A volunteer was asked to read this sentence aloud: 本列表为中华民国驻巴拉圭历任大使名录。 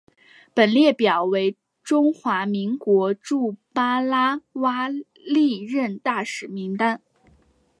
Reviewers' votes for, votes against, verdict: 5, 0, accepted